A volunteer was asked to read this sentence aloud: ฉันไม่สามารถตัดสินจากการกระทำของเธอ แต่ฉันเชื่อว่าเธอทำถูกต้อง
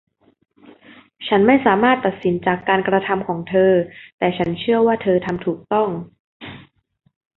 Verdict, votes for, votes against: accepted, 2, 0